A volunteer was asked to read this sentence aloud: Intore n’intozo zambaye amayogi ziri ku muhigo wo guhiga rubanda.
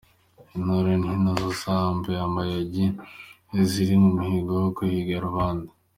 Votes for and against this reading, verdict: 0, 3, rejected